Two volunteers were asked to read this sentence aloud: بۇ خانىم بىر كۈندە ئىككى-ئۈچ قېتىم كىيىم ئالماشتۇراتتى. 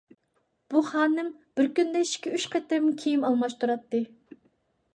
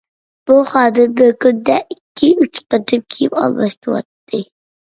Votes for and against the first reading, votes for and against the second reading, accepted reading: 2, 0, 1, 2, first